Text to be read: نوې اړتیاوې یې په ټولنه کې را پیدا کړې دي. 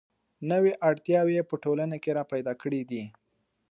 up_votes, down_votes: 2, 0